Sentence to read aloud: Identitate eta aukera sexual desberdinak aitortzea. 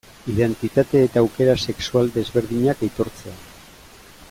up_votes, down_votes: 2, 0